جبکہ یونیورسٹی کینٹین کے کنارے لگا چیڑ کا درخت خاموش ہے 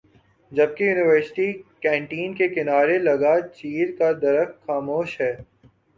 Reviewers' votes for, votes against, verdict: 3, 2, accepted